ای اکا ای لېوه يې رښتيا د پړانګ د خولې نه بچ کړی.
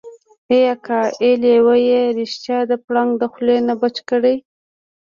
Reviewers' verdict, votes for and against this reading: accepted, 2, 1